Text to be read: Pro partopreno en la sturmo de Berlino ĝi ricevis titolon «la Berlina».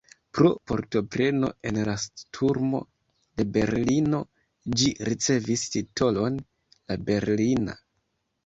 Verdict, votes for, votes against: rejected, 0, 2